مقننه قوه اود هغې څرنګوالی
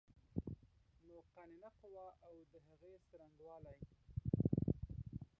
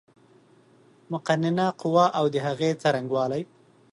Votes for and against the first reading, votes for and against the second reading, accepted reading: 1, 2, 2, 0, second